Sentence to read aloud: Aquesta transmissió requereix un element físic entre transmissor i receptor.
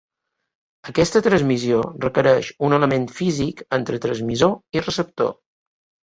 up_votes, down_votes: 2, 0